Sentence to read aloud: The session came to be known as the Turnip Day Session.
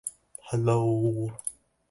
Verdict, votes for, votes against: rejected, 0, 3